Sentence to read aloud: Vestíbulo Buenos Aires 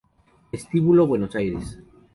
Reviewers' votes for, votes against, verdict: 0, 2, rejected